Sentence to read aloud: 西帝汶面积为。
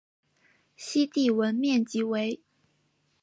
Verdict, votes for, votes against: accepted, 3, 0